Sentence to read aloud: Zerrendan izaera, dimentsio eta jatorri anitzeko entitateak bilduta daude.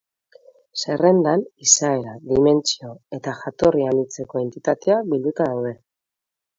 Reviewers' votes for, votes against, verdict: 2, 0, accepted